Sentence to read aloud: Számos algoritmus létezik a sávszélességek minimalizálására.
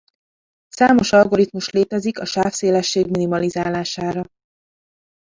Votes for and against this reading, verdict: 1, 2, rejected